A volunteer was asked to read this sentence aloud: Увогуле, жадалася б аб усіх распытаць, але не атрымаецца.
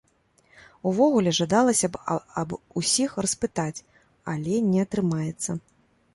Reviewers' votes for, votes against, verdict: 0, 2, rejected